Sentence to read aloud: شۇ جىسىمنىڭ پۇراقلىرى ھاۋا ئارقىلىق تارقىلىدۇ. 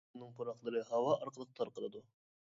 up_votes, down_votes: 0, 2